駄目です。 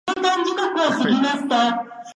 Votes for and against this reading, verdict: 1, 2, rejected